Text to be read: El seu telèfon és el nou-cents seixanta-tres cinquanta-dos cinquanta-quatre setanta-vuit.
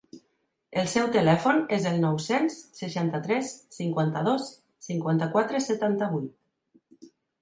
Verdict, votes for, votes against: accepted, 2, 0